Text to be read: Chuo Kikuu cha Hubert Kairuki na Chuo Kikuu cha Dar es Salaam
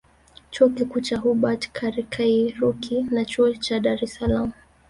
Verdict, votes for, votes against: accepted, 2, 1